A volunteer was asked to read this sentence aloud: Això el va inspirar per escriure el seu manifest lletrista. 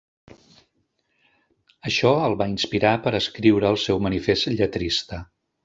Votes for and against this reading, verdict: 2, 0, accepted